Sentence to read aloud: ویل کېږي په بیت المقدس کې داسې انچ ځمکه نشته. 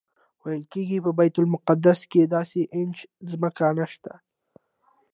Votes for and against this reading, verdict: 2, 0, accepted